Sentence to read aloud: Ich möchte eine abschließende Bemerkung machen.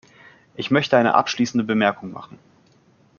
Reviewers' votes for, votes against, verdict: 2, 0, accepted